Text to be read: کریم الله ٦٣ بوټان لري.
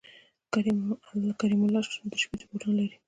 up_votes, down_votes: 0, 2